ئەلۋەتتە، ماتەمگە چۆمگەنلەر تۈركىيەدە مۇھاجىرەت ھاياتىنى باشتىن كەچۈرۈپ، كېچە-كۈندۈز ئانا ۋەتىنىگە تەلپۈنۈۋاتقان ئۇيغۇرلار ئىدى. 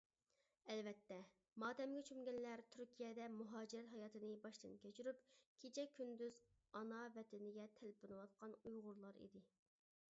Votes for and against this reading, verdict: 0, 2, rejected